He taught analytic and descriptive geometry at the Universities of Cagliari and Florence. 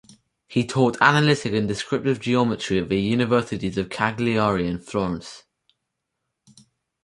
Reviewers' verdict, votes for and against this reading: accepted, 4, 0